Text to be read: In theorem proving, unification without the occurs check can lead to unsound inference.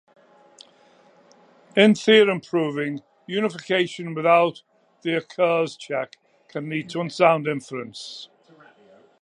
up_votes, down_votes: 2, 0